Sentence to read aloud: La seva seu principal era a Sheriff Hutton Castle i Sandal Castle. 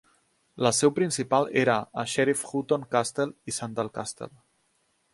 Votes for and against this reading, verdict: 0, 2, rejected